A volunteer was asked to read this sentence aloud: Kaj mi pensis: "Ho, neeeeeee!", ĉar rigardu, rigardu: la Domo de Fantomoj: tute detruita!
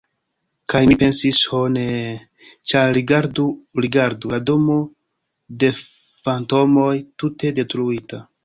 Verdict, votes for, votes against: rejected, 1, 2